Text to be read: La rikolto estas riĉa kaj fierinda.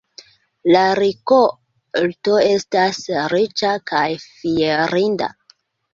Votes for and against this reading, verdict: 2, 1, accepted